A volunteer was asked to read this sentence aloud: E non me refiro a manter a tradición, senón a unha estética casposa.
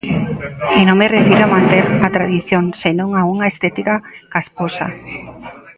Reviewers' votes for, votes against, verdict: 0, 2, rejected